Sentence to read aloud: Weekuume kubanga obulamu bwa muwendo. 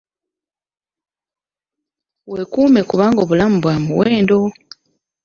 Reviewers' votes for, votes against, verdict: 2, 0, accepted